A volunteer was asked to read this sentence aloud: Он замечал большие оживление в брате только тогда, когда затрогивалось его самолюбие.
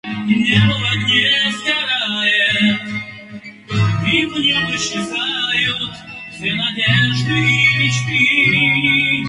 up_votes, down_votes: 0, 2